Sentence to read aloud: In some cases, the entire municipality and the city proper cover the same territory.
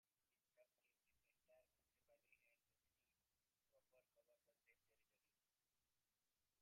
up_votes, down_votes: 0, 2